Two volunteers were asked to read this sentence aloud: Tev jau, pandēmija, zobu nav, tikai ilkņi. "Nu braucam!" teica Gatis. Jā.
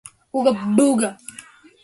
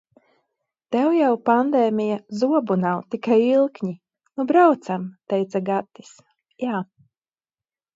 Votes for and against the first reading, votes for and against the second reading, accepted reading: 0, 2, 2, 0, second